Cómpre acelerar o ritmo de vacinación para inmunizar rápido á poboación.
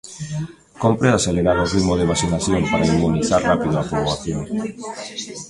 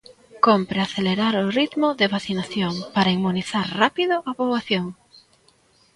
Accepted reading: second